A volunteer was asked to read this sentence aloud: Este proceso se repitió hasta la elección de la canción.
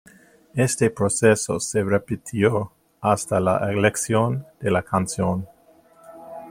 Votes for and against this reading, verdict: 2, 0, accepted